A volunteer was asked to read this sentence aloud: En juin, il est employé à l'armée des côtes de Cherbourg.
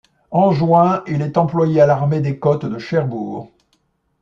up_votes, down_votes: 2, 0